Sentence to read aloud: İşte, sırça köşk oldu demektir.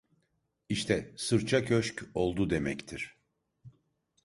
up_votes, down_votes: 2, 0